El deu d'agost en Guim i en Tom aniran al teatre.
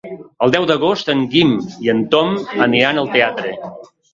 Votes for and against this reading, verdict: 1, 2, rejected